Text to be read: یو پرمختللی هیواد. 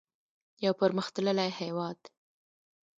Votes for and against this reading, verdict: 0, 2, rejected